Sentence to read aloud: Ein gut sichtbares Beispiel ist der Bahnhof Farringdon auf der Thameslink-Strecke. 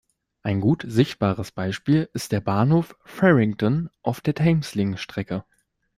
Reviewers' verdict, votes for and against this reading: accepted, 2, 0